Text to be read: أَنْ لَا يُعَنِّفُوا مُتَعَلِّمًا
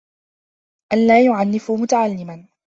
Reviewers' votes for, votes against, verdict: 1, 2, rejected